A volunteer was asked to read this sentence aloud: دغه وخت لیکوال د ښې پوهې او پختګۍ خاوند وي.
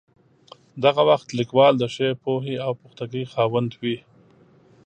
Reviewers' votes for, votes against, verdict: 2, 0, accepted